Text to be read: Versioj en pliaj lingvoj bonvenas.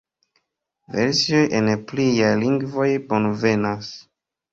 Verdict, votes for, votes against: accepted, 2, 0